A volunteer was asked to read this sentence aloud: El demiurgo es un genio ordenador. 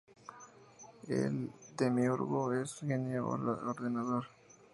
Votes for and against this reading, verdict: 0, 2, rejected